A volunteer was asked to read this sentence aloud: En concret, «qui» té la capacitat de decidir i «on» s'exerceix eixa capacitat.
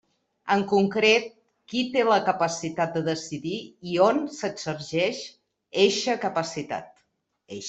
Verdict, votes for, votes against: rejected, 1, 2